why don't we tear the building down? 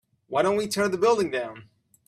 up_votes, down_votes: 3, 0